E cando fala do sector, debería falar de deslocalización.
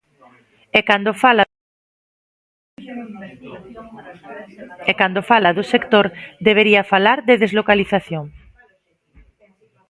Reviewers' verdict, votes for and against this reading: rejected, 0, 2